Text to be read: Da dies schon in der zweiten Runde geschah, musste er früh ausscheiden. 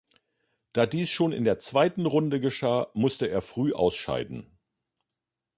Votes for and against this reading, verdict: 3, 0, accepted